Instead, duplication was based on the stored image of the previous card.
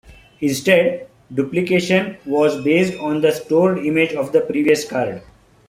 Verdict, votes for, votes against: accepted, 2, 0